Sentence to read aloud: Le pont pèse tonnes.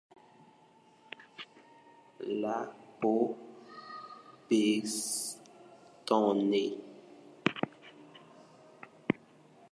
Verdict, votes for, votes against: rejected, 1, 2